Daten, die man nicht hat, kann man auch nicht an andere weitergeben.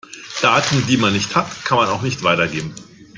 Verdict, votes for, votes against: rejected, 0, 2